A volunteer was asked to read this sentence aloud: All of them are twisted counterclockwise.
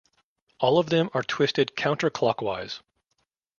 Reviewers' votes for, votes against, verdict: 3, 0, accepted